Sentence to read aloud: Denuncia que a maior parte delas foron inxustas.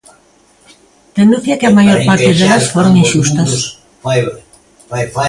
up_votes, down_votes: 0, 2